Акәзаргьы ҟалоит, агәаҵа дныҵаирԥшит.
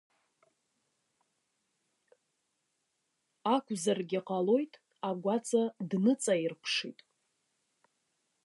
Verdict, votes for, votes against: accepted, 2, 0